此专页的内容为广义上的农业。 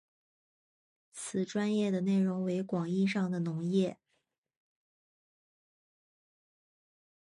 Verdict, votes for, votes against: accepted, 2, 1